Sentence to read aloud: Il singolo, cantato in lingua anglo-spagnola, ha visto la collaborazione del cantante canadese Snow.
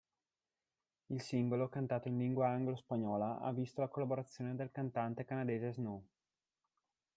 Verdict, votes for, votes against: accepted, 2, 1